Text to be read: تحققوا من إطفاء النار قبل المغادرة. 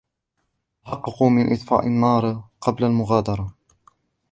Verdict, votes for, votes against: accepted, 2, 1